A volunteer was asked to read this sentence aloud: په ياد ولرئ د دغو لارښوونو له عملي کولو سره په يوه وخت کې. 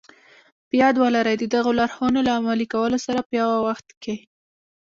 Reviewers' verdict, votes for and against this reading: accepted, 2, 0